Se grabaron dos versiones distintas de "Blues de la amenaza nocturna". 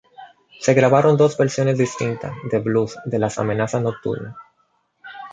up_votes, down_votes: 0, 2